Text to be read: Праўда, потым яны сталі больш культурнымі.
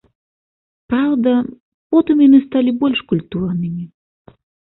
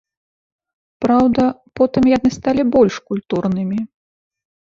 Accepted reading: first